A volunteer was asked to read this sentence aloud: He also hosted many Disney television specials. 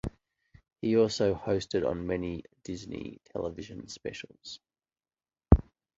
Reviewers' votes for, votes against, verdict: 1, 2, rejected